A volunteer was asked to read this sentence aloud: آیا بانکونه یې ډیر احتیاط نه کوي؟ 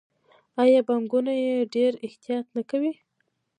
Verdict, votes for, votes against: accepted, 2, 1